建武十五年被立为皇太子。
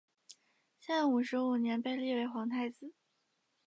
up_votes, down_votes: 2, 0